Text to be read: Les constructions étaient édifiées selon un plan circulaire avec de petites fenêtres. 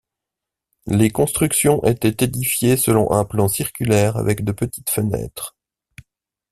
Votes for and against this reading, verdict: 2, 0, accepted